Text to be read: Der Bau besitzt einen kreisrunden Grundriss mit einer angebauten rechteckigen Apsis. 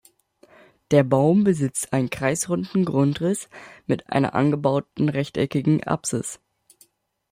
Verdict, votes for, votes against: rejected, 0, 2